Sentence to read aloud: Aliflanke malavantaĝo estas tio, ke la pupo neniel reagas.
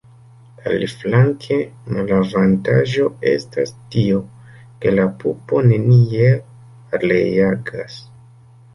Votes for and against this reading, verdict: 1, 2, rejected